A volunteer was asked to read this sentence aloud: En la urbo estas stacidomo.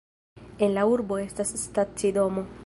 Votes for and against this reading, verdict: 2, 1, accepted